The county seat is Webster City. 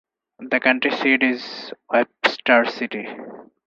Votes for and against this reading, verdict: 0, 4, rejected